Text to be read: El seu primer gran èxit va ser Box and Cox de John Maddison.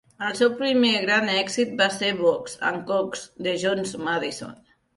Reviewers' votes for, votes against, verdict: 0, 2, rejected